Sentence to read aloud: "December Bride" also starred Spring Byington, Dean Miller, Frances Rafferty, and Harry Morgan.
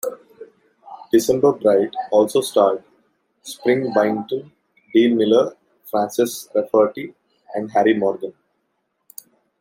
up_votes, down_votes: 2, 0